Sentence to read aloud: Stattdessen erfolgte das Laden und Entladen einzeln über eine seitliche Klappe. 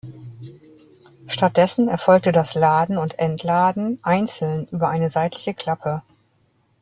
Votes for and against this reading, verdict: 2, 0, accepted